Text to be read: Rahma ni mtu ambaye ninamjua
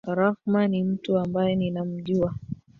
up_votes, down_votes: 0, 2